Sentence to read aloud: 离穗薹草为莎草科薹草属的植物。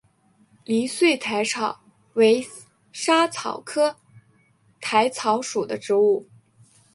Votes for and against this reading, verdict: 1, 2, rejected